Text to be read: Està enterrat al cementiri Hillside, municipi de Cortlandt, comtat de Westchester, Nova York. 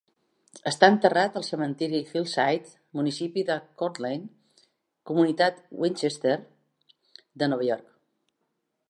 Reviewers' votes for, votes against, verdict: 0, 2, rejected